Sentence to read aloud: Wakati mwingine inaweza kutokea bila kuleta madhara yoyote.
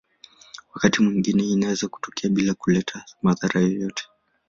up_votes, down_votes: 2, 0